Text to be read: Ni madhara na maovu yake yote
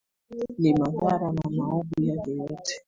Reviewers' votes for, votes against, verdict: 1, 2, rejected